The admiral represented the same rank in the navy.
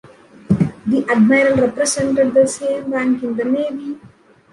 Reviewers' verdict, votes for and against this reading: rejected, 0, 2